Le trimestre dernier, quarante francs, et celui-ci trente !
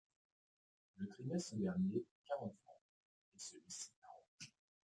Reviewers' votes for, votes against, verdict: 1, 2, rejected